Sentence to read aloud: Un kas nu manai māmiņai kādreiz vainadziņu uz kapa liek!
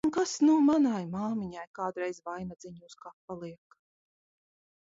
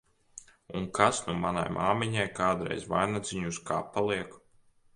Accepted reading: second